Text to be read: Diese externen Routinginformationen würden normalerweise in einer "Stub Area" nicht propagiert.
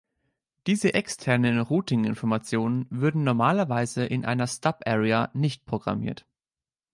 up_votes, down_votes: 0, 2